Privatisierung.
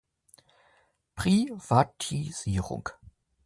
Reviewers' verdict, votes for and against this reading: rejected, 1, 2